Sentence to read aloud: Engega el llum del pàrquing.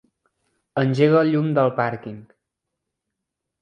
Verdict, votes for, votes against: accepted, 3, 0